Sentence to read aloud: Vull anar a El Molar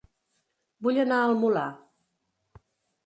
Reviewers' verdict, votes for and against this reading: accepted, 2, 0